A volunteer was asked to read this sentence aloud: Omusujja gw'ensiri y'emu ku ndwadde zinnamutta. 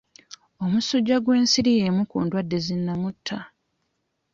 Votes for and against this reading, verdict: 2, 0, accepted